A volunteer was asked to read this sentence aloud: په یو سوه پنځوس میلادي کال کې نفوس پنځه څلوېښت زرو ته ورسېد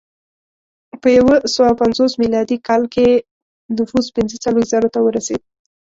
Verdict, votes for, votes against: rejected, 1, 2